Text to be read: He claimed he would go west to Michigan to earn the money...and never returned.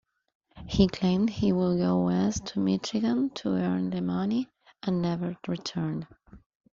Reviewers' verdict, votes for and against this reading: accepted, 2, 0